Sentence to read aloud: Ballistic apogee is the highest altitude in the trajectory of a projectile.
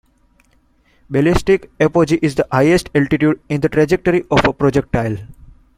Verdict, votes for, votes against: accepted, 2, 0